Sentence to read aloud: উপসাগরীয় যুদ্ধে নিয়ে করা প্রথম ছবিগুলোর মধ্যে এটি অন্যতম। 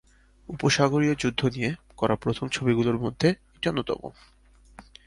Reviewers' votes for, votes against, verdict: 3, 0, accepted